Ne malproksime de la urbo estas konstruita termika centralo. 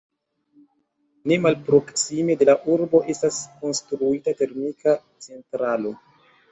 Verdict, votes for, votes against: accepted, 2, 1